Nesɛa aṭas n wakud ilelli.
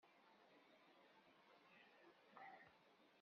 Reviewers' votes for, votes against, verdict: 0, 2, rejected